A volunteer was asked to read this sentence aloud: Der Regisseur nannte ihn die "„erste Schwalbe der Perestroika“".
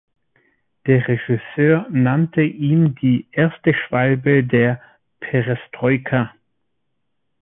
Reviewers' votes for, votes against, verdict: 2, 0, accepted